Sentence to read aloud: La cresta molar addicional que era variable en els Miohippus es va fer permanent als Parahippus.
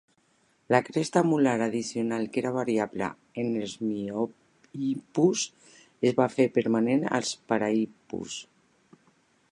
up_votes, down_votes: 1, 2